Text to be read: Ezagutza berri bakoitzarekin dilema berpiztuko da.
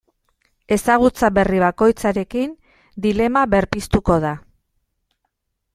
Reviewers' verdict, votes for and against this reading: accepted, 2, 0